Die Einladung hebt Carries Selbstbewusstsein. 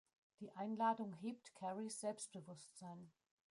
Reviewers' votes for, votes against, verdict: 1, 2, rejected